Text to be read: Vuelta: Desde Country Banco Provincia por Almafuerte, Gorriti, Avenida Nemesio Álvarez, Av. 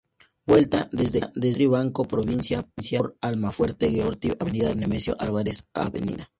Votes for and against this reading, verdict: 2, 4, rejected